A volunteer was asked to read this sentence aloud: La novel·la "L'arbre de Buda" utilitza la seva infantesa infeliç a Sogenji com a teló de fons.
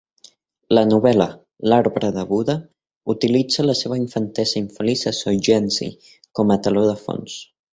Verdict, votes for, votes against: accepted, 3, 1